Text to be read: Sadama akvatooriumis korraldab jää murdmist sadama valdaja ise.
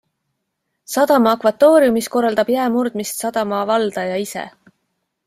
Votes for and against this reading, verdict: 2, 0, accepted